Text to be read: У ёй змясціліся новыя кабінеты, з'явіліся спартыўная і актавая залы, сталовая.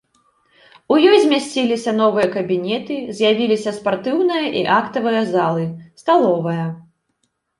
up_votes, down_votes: 2, 0